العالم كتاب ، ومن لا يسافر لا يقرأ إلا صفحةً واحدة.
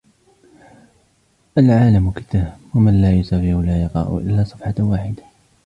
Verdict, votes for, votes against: rejected, 1, 2